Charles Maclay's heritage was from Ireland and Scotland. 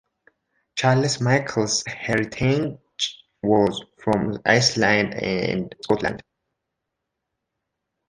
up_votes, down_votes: 0, 3